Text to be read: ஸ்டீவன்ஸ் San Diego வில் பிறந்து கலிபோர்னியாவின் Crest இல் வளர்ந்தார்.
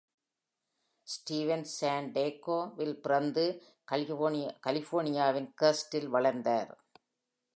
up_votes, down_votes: 0, 2